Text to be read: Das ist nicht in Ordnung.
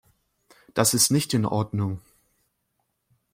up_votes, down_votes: 2, 0